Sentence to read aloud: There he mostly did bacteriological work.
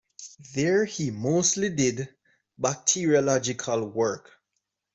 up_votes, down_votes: 2, 0